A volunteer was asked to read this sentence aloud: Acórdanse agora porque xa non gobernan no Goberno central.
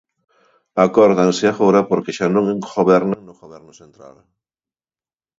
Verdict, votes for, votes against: rejected, 1, 2